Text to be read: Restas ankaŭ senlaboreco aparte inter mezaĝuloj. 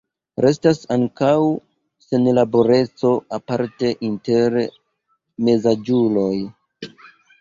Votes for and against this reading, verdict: 1, 2, rejected